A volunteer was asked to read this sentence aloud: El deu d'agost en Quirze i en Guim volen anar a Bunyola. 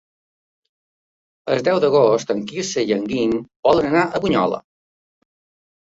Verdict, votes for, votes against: accepted, 2, 1